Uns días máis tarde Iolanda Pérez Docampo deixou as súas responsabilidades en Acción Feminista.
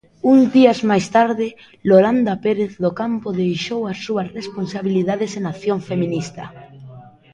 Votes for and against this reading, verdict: 0, 2, rejected